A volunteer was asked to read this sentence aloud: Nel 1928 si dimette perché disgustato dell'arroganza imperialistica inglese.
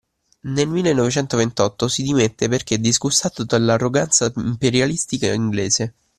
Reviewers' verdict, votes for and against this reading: rejected, 0, 2